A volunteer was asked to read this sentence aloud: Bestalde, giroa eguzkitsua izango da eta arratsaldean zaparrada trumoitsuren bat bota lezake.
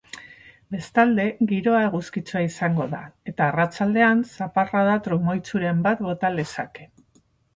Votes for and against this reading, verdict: 2, 0, accepted